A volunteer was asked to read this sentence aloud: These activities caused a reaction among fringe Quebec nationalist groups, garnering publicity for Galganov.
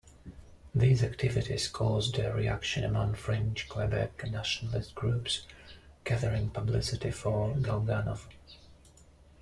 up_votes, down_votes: 1, 2